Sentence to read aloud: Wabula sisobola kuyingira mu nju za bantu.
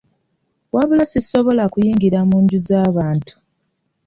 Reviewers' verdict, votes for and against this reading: accepted, 2, 1